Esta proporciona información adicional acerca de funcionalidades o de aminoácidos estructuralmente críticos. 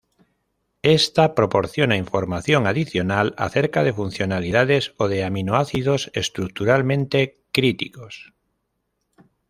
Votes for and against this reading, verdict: 2, 0, accepted